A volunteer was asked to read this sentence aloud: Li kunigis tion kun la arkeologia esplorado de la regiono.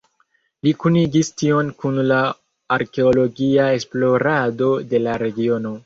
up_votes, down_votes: 2, 1